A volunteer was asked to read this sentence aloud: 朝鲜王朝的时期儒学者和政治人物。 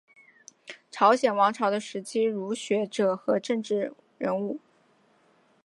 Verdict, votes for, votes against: accepted, 2, 0